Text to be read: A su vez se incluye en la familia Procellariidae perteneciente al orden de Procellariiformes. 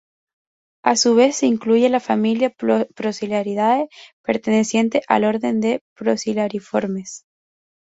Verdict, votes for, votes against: rejected, 0, 6